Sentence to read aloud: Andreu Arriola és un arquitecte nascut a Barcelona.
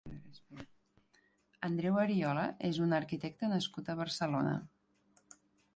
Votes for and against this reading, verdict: 1, 2, rejected